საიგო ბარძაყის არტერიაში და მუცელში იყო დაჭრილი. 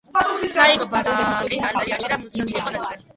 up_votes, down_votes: 1, 2